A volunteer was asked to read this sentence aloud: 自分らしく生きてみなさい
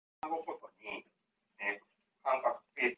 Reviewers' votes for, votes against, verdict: 0, 2, rejected